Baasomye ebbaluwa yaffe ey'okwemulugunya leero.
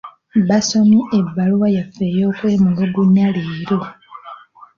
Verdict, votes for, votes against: rejected, 1, 2